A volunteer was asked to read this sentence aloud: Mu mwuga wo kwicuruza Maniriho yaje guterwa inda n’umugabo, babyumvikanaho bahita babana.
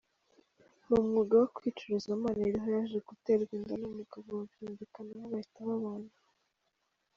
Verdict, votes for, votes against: accepted, 2, 0